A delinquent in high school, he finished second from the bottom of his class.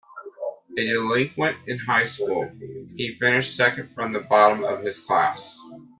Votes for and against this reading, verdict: 0, 2, rejected